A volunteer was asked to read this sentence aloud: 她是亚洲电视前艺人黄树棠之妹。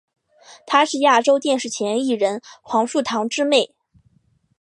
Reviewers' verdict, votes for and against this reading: accepted, 2, 0